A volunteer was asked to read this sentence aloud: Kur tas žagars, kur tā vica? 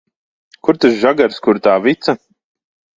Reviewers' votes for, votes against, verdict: 2, 0, accepted